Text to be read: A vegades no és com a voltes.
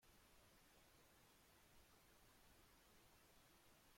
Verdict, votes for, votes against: rejected, 0, 2